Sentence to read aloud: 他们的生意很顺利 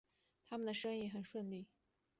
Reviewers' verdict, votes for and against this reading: accepted, 2, 1